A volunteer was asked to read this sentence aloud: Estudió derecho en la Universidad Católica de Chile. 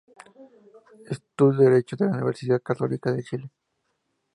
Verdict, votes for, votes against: accepted, 4, 0